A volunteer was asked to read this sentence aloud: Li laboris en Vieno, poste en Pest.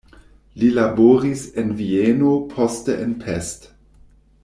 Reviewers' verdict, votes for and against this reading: rejected, 1, 2